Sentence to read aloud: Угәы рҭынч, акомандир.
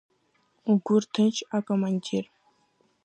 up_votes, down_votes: 1, 2